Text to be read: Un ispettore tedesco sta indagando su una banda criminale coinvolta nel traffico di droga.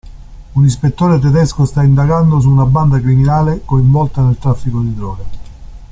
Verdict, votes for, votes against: accepted, 2, 0